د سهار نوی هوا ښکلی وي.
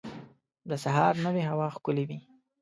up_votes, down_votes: 0, 2